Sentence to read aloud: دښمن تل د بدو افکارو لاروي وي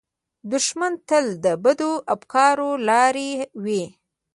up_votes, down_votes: 0, 2